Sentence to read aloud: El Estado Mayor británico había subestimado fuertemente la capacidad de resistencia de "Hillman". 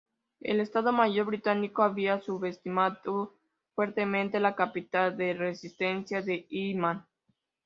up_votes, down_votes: 0, 2